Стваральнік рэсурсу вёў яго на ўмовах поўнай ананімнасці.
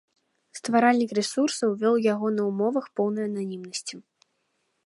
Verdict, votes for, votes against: accepted, 2, 0